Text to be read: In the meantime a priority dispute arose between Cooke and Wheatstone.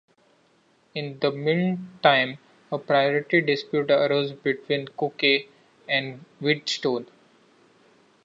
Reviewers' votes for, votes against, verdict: 2, 1, accepted